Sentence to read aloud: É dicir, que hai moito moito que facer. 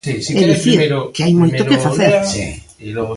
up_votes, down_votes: 0, 2